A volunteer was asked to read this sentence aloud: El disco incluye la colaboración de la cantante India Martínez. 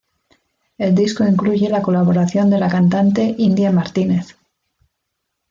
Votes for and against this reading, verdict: 2, 0, accepted